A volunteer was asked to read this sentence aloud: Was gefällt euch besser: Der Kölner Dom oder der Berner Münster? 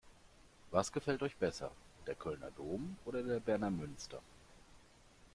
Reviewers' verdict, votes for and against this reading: accepted, 2, 1